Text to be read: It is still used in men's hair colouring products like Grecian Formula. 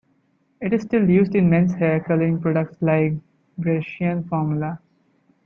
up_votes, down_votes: 1, 2